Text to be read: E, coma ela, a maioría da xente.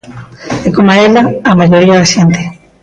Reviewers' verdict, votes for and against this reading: rejected, 0, 2